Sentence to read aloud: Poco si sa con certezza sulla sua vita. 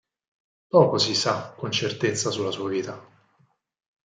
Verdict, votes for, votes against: accepted, 4, 2